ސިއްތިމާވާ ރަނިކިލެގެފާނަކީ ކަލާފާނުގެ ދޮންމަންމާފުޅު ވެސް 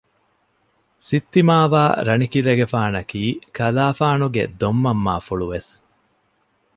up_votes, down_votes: 2, 0